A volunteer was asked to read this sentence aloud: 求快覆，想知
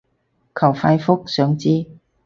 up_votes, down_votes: 2, 0